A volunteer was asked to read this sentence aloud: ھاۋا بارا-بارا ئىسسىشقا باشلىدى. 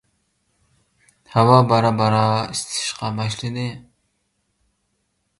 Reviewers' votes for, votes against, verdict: 0, 2, rejected